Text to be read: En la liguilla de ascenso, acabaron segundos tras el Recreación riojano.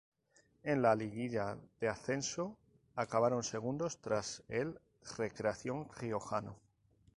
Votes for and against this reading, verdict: 0, 2, rejected